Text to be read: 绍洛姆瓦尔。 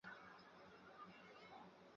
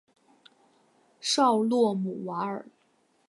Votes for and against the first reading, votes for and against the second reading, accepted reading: 0, 4, 8, 0, second